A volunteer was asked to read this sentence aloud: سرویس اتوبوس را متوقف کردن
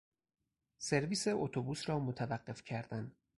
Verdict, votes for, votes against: accepted, 4, 0